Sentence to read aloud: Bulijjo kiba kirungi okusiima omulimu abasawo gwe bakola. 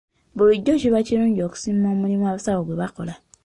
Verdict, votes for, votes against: accepted, 2, 1